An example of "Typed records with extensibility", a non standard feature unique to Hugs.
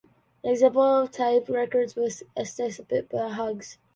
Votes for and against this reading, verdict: 0, 2, rejected